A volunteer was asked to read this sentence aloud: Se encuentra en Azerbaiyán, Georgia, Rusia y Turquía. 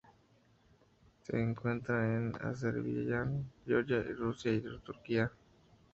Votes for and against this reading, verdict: 0, 2, rejected